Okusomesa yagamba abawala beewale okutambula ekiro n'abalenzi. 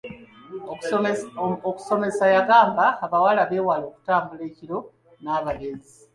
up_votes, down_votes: 2, 0